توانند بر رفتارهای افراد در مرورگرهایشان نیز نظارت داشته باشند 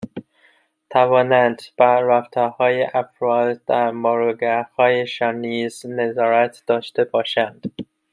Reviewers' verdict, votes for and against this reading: rejected, 0, 2